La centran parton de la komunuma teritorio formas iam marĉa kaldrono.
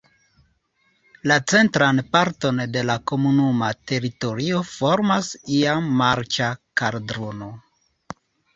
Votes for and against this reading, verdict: 2, 0, accepted